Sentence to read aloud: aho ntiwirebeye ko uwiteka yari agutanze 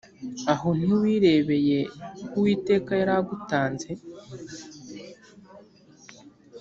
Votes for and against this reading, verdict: 2, 0, accepted